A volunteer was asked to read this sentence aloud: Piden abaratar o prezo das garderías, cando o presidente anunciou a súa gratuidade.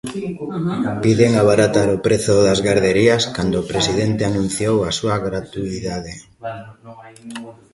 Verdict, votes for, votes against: rejected, 1, 2